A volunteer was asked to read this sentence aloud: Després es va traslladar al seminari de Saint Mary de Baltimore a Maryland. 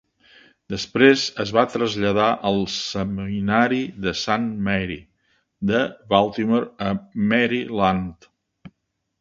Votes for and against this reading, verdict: 0, 2, rejected